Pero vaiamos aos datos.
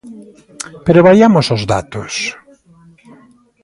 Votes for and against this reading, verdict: 2, 0, accepted